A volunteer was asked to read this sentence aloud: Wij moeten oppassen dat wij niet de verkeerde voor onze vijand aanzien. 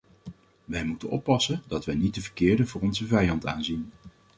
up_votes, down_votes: 2, 0